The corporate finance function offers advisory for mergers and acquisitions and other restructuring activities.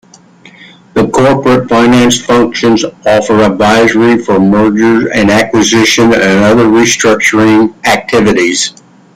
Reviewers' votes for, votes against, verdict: 2, 1, accepted